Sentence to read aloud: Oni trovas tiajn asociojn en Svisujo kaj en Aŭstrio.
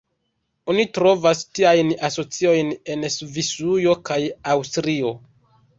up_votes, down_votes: 1, 2